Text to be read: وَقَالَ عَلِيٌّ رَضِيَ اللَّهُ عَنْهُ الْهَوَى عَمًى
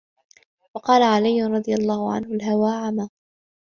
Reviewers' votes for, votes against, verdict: 2, 0, accepted